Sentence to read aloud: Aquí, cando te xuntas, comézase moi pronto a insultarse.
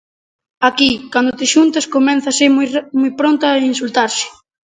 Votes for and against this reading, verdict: 0, 2, rejected